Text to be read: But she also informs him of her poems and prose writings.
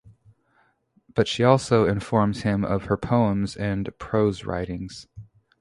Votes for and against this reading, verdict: 2, 0, accepted